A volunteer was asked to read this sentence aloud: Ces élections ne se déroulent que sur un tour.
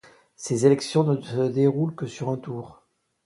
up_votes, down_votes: 2, 1